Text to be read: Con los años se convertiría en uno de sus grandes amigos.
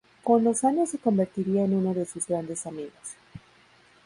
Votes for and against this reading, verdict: 2, 2, rejected